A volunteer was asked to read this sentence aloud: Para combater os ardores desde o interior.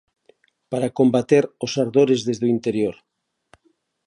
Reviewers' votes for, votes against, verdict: 2, 0, accepted